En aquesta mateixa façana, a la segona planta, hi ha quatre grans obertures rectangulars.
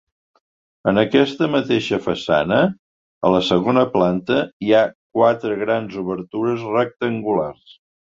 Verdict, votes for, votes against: accepted, 2, 0